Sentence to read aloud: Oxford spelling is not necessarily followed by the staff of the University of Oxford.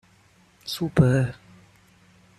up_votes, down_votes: 0, 2